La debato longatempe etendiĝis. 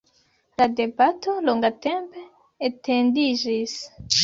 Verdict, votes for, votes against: accepted, 2, 0